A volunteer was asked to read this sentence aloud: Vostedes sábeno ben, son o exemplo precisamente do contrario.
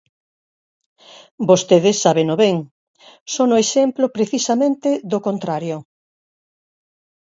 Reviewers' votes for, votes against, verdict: 4, 0, accepted